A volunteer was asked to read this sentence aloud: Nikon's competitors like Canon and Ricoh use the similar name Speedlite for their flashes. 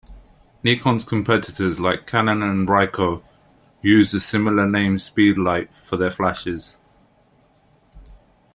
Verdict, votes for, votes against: accepted, 2, 0